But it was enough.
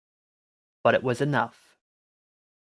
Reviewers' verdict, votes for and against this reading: rejected, 1, 2